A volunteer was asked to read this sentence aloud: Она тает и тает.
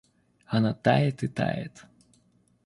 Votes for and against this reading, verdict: 2, 0, accepted